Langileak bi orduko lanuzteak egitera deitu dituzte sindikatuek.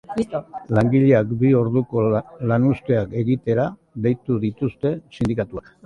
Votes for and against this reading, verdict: 0, 2, rejected